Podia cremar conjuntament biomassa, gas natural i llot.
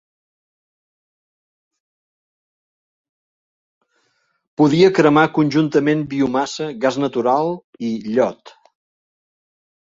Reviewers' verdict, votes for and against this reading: rejected, 0, 2